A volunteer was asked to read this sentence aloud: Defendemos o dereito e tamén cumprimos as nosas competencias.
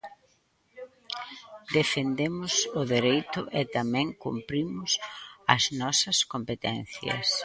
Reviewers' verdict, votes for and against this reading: accepted, 3, 1